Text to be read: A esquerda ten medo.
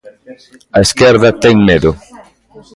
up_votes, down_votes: 2, 0